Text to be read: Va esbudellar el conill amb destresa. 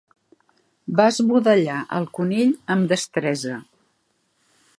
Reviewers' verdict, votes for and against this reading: accepted, 2, 0